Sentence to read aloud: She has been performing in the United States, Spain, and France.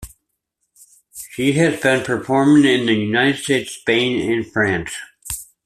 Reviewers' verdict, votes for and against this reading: accepted, 2, 0